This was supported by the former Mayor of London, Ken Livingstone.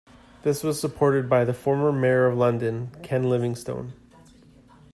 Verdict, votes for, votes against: accepted, 2, 0